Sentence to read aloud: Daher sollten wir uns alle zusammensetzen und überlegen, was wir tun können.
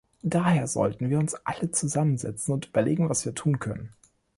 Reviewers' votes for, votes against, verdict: 2, 0, accepted